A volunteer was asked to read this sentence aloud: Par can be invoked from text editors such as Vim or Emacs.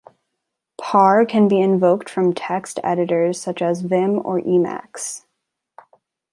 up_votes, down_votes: 2, 0